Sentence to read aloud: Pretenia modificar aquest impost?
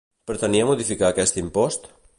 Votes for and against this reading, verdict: 2, 0, accepted